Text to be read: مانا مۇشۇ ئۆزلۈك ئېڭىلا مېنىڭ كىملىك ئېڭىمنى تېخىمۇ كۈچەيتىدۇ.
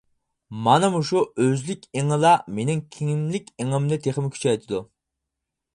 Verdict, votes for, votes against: accepted, 4, 0